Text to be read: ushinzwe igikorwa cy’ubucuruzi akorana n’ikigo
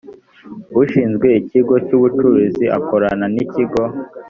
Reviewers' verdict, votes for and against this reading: rejected, 1, 2